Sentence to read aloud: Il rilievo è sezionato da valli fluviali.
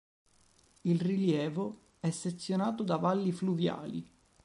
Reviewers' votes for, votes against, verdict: 3, 0, accepted